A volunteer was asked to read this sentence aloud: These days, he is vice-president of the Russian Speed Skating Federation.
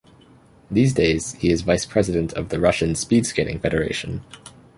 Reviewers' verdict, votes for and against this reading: accepted, 2, 0